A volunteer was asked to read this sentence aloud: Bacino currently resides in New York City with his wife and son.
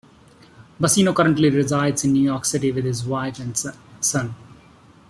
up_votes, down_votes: 2, 1